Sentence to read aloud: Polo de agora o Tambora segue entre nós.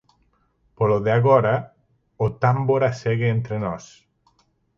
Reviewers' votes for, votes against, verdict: 2, 4, rejected